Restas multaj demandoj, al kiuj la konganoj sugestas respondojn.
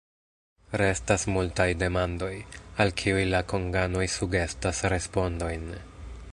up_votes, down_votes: 2, 0